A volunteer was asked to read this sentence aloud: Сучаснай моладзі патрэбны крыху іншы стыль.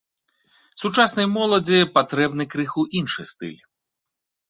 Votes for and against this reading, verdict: 2, 0, accepted